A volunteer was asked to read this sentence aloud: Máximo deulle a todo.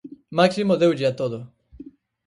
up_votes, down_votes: 4, 0